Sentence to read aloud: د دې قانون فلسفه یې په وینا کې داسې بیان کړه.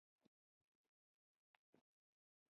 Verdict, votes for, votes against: rejected, 1, 2